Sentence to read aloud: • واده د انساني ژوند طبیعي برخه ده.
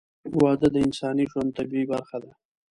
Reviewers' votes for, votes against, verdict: 2, 0, accepted